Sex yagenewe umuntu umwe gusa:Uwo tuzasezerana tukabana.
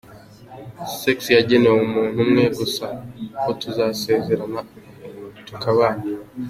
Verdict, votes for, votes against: accepted, 2, 0